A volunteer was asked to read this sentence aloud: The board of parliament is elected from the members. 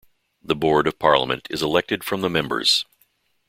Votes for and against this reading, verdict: 2, 0, accepted